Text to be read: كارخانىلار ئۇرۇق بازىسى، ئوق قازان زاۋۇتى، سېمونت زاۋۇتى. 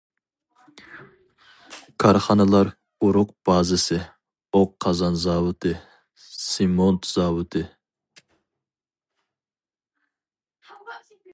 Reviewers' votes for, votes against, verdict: 2, 0, accepted